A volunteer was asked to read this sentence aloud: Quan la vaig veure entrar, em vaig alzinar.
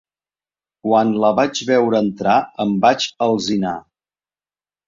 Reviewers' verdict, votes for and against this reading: accepted, 4, 0